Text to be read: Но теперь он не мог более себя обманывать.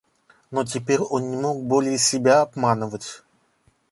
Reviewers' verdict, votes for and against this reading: rejected, 1, 2